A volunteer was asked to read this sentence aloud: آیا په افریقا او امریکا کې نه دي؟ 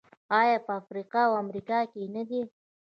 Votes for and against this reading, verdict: 1, 2, rejected